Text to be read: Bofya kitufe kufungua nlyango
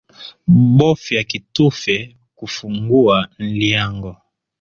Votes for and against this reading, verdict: 2, 0, accepted